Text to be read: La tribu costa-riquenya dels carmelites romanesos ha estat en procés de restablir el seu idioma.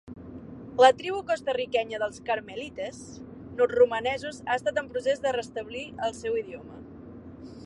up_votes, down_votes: 1, 2